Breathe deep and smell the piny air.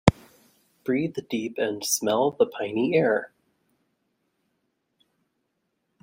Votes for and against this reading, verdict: 2, 0, accepted